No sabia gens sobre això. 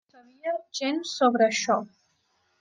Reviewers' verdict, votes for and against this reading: rejected, 1, 2